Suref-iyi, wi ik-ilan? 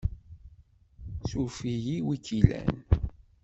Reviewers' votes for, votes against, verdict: 1, 2, rejected